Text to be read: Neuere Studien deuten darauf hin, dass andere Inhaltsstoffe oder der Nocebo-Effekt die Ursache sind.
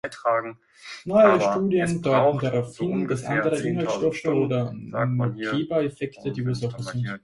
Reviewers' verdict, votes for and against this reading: rejected, 0, 2